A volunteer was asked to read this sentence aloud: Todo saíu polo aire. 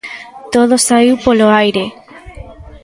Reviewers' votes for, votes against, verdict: 2, 1, accepted